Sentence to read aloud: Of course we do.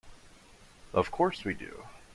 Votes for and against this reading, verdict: 2, 0, accepted